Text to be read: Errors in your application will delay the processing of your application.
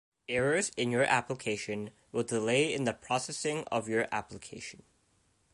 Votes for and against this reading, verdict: 0, 2, rejected